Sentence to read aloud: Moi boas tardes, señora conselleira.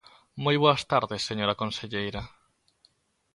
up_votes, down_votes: 2, 0